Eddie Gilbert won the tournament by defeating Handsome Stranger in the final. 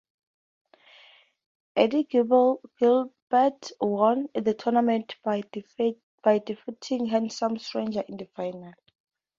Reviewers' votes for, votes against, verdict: 0, 2, rejected